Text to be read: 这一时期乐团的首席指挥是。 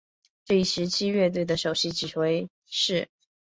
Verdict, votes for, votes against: accepted, 3, 0